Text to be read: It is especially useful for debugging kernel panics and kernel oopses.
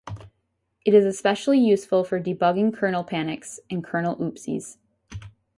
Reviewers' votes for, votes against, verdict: 2, 2, rejected